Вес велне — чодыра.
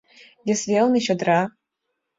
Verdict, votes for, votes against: accepted, 2, 0